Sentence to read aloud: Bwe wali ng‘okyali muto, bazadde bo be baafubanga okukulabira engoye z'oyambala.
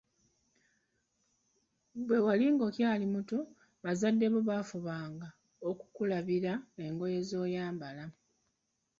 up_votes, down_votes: 1, 2